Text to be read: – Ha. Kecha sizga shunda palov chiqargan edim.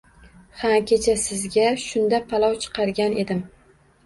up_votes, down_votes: 2, 0